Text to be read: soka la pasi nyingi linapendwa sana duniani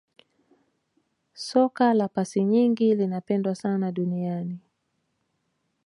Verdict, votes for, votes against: rejected, 1, 2